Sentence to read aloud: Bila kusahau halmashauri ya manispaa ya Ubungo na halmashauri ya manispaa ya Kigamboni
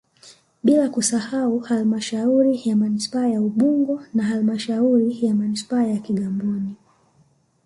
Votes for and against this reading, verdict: 3, 1, accepted